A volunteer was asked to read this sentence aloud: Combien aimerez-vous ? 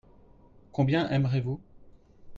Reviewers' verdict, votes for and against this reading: accepted, 2, 0